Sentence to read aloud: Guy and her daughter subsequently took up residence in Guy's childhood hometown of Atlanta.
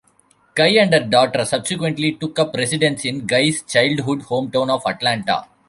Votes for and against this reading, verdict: 2, 0, accepted